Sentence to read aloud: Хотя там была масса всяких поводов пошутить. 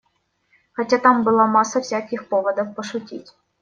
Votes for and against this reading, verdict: 2, 0, accepted